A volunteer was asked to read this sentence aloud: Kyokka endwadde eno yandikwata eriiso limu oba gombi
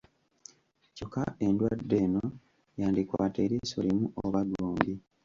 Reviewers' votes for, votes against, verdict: 2, 0, accepted